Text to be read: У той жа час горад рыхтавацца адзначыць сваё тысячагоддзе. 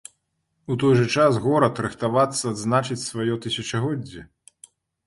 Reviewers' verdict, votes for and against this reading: rejected, 0, 2